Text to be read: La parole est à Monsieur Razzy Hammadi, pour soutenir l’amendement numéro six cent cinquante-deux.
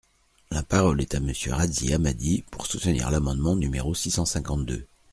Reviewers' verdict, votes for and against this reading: accepted, 2, 0